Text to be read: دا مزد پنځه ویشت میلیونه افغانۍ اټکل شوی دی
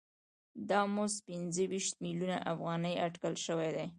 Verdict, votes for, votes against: accepted, 2, 0